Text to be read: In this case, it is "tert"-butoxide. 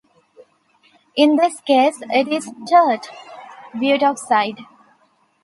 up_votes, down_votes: 2, 0